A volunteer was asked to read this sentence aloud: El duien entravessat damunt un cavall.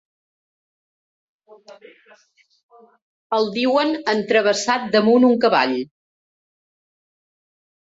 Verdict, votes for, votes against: rejected, 1, 2